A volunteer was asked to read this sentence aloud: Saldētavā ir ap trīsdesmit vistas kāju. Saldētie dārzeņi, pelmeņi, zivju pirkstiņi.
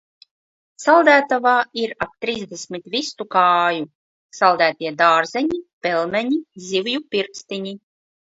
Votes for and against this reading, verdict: 0, 2, rejected